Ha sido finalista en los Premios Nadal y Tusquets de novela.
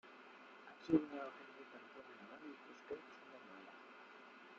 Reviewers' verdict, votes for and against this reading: rejected, 0, 2